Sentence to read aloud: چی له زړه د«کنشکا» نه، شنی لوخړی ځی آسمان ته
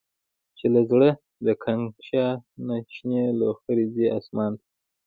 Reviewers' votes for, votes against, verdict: 0, 2, rejected